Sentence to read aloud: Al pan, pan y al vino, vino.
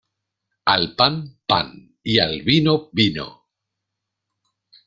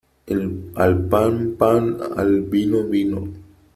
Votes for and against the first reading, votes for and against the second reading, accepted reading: 2, 0, 0, 3, first